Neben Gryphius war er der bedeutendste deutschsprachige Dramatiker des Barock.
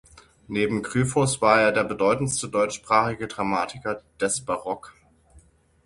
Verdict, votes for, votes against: rejected, 3, 6